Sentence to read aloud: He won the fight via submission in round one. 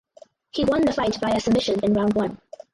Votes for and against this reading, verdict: 4, 2, accepted